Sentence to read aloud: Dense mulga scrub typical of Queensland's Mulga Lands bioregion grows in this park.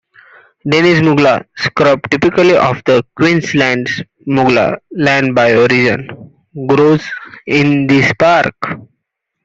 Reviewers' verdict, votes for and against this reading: rejected, 1, 2